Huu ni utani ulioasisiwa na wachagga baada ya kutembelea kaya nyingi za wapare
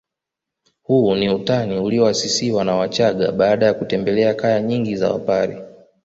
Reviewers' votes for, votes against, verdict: 1, 2, rejected